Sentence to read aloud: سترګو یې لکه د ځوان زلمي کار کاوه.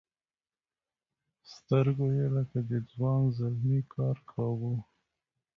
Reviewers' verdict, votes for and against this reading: accepted, 2, 0